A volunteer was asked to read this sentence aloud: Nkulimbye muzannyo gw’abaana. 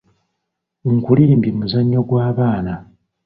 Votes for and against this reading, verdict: 2, 0, accepted